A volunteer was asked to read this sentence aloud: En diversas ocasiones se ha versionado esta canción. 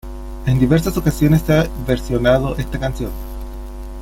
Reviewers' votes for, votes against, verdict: 0, 2, rejected